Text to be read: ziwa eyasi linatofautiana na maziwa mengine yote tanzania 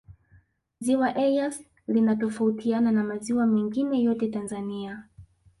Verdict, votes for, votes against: accepted, 2, 1